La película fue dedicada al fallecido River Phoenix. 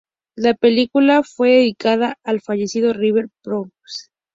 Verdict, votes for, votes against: rejected, 0, 2